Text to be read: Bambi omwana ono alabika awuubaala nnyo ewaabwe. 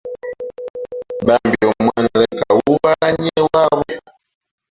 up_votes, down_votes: 0, 2